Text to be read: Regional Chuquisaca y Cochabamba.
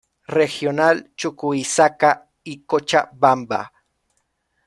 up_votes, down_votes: 1, 2